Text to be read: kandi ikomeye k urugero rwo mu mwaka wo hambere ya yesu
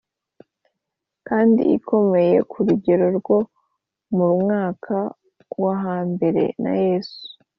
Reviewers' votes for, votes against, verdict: 2, 0, accepted